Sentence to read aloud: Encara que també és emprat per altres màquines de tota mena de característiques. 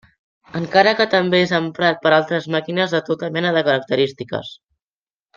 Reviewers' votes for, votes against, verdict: 3, 0, accepted